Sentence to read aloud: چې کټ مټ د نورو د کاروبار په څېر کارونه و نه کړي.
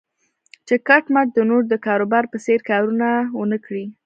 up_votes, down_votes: 1, 2